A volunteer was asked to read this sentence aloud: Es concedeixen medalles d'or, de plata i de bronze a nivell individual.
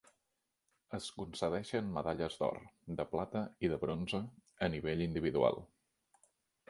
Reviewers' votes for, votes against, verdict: 4, 0, accepted